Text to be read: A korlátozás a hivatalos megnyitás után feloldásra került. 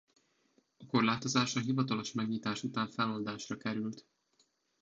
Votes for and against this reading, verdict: 1, 2, rejected